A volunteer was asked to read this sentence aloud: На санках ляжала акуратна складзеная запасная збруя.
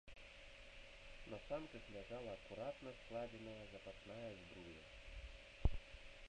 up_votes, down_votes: 0, 3